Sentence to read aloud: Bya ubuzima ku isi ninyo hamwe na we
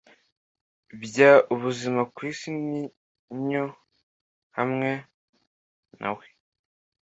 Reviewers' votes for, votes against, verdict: 2, 1, accepted